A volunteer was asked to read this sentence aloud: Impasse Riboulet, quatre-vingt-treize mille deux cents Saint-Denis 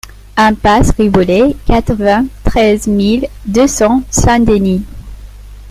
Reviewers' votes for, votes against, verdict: 2, 0, accepted